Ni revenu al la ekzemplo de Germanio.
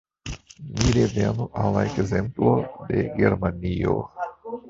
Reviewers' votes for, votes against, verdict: 1, 2, rejected